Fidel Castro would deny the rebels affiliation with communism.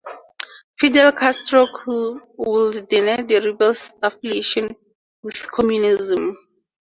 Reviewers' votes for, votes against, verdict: 0, 2, rejected